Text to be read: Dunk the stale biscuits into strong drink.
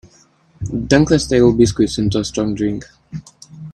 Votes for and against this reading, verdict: 2, 0, accepted